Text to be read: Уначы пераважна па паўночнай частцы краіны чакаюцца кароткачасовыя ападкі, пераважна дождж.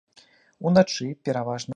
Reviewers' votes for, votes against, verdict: 0, 2, rejected